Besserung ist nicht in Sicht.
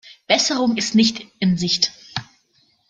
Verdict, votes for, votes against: rejected, 1, 2